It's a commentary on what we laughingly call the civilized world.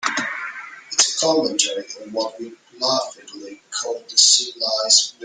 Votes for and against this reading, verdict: 1, 2, rejected